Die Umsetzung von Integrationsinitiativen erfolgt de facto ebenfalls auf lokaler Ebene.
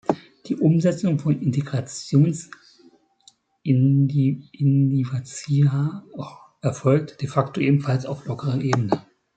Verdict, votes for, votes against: rejected, 0, 2